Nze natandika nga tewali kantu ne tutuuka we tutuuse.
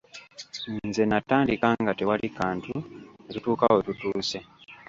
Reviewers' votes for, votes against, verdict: 1, 2, rejected